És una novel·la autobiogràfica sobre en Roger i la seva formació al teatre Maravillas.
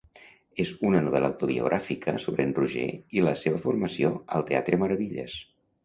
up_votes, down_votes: 2, 0